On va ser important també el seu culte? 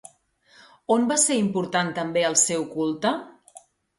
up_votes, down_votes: 2, 0